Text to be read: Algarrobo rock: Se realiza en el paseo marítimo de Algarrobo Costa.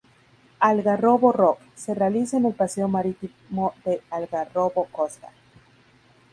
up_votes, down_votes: 2, 6